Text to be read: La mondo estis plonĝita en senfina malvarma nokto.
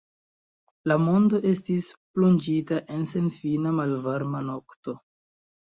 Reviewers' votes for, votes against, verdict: 2, 0, accepted